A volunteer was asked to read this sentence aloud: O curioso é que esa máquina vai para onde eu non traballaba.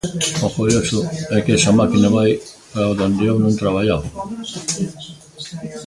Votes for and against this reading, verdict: 0, 2, rejected